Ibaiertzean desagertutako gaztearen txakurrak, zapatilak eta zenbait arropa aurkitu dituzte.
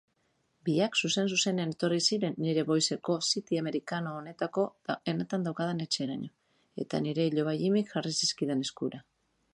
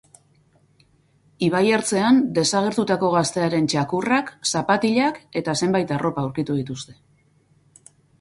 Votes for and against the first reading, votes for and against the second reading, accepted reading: 0, 2, 4, 0, second